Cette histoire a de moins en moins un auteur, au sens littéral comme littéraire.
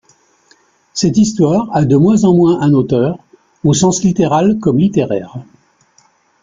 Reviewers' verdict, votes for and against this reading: rejected, 0, 2